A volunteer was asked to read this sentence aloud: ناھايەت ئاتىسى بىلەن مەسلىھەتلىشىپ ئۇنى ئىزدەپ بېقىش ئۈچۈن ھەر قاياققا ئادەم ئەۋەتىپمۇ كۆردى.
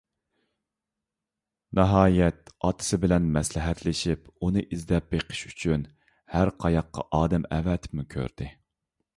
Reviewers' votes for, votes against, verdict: 2, 0, accepted